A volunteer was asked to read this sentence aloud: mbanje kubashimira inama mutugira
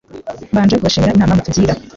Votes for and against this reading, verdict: 1, 2, rejected